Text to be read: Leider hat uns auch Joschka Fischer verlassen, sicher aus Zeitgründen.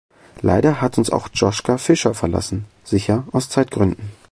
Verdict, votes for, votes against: rejected, 1, 2